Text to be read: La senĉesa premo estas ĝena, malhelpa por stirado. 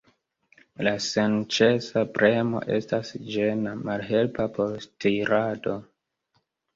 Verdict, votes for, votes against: rejected, 0, 2